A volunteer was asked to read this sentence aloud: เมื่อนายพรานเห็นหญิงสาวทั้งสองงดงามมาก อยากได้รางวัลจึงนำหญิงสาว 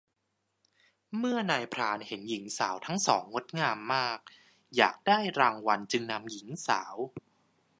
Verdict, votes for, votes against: accepted, 2, 0